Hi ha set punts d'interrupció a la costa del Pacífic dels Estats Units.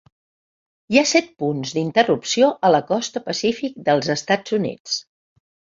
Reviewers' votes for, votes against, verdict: 2, 0, accepted